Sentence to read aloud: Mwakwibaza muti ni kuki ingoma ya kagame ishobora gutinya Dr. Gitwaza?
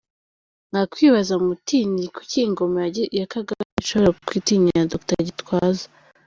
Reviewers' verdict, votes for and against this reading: rejected, 1, 2